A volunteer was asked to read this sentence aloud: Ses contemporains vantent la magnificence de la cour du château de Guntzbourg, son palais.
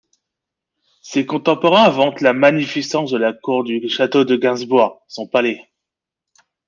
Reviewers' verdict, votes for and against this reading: rejected, 1, 2